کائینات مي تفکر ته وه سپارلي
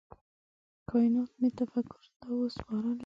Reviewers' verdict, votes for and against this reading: rejected, 0, 3